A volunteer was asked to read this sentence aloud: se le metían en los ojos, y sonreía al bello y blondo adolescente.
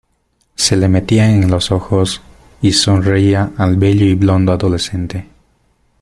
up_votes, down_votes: 2, 1